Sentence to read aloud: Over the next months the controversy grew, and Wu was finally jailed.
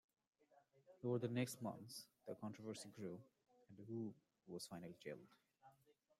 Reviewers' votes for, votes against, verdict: 1, 2, rejected